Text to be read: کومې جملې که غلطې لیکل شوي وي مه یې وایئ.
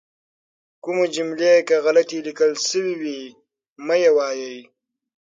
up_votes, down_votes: 6, 0